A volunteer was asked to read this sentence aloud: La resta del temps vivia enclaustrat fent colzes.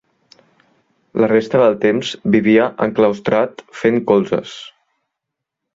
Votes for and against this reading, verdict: 3, 0, accepted